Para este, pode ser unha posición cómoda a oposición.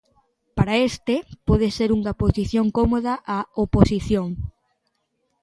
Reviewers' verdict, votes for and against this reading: accepted, 2, 0